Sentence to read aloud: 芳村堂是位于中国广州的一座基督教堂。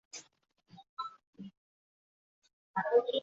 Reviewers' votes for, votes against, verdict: 1, 2, rejected